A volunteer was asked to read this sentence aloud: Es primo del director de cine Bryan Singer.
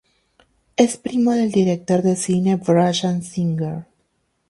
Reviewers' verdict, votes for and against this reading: rejected, 0, 2